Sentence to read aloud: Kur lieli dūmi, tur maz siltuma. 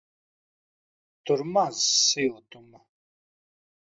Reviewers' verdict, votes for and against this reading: rejected, 0, 2